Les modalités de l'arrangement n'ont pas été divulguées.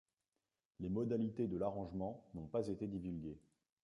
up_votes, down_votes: 0, 2